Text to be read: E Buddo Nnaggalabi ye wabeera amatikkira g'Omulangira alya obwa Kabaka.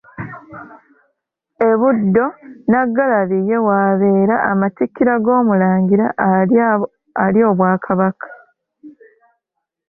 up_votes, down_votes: 2, 1